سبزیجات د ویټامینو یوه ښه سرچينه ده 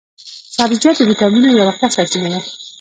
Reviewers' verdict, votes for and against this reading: rejected, 0, 2